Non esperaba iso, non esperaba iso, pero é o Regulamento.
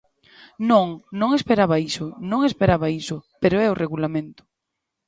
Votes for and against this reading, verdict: 1, 2, rejected